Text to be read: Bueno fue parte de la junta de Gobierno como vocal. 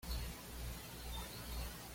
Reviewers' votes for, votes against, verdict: 1, 2, rejected